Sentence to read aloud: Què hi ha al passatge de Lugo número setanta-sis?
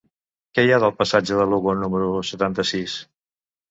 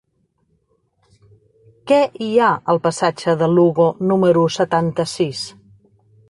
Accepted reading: second